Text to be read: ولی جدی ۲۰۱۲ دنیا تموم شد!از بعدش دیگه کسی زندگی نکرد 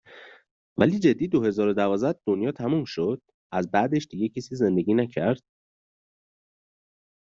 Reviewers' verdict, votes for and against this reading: rejected, 0, 2